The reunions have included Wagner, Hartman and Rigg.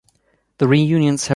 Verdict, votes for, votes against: rejected, 1, 2